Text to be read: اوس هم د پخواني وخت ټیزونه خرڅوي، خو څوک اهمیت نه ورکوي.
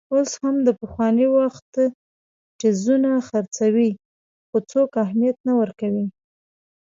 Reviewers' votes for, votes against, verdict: 1, 2, rejected